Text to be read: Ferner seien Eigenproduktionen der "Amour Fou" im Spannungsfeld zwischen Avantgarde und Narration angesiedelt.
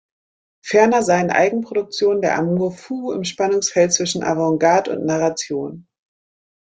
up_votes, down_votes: 0, 2